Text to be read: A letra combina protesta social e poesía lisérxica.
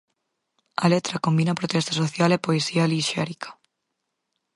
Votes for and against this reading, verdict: 2, 4, rejected